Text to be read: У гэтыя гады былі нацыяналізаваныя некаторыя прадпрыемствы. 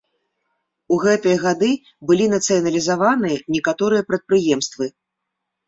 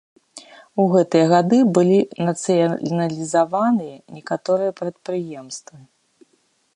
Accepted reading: first